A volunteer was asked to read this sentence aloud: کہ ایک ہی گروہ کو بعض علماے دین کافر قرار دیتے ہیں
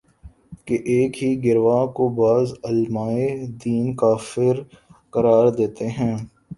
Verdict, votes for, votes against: rejected, 3, 5